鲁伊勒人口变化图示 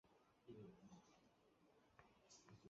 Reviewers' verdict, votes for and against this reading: rejected, 0, 2